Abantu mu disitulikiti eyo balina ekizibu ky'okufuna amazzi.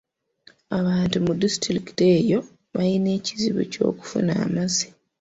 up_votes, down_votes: 2, 0